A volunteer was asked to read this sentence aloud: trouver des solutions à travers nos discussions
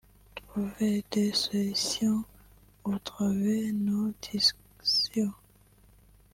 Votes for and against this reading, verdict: 1, 2, rejected